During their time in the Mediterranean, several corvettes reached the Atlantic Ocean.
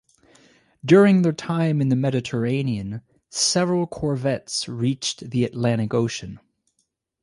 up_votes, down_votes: 2, 2